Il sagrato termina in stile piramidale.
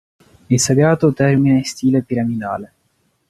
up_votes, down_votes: 2, 0